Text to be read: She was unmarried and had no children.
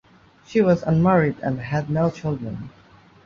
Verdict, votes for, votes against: accepted, 2, 0